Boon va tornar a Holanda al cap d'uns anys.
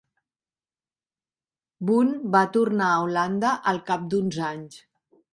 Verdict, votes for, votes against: accepted, 2, 0